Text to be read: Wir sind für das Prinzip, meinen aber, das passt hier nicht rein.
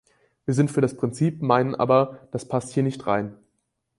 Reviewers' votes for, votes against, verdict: 4, 0, accepted